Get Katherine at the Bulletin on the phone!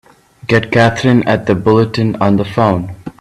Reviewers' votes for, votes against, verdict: 3, 0, accepted